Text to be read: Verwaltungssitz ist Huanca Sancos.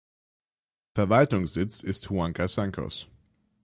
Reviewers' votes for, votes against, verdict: 6, 3, accepted